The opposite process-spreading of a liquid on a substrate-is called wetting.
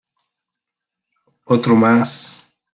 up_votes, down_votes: 0, 2